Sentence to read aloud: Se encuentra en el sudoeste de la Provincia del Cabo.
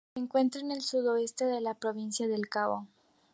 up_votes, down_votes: 0, 2